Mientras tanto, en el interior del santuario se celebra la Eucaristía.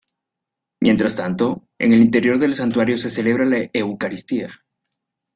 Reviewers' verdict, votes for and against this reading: accepted, 2, 0